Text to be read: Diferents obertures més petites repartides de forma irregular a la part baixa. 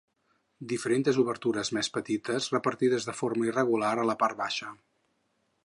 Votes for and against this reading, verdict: 2, 4, rejected